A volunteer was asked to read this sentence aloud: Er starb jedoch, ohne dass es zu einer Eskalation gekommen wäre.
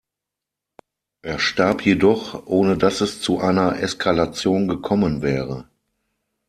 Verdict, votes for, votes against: accepted, 6, 0